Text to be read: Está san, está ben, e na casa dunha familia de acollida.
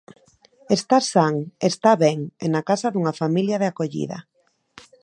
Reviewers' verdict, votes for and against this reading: accepted, 2, 0